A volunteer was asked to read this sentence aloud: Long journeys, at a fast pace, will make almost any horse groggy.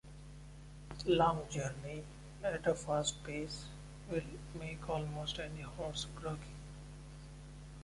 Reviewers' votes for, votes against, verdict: 1, 2, rejected